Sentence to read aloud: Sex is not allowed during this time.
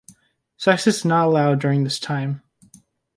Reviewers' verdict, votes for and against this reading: accepted, 2, 0